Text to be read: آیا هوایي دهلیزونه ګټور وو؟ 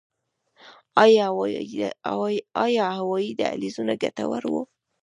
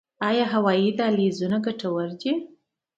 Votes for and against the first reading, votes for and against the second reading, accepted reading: 2, 3, 2, 0, second